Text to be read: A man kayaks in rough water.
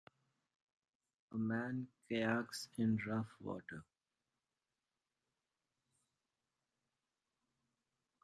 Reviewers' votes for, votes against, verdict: 3, 0, accepted